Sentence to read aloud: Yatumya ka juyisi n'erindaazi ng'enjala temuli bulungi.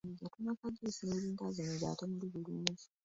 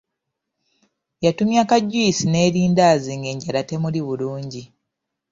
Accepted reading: second